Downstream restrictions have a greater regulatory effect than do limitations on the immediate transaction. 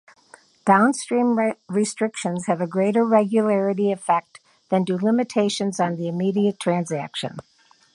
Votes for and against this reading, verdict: 1, 2, rejected